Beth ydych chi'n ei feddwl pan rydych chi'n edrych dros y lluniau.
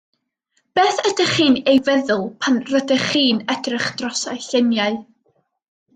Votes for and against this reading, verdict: 2, 0, accepted